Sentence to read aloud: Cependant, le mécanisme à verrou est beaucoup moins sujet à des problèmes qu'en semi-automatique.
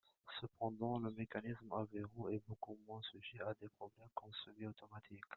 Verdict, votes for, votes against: rejected, 0, 2